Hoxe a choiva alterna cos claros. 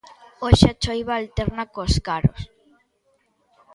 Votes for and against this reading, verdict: 1, 2, rejected